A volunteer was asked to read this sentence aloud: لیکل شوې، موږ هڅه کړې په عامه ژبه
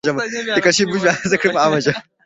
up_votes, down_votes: 0, 2